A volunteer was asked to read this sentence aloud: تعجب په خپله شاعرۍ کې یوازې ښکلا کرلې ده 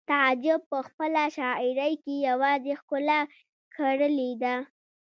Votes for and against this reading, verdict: 0, 2, rejected